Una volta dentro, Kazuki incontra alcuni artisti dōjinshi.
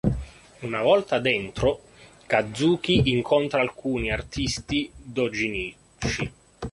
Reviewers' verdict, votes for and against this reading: rejected, 0, 2